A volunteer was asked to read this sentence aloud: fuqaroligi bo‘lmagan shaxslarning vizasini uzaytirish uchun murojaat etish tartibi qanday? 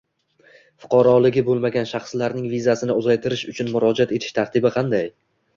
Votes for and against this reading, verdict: 1, 2, rejected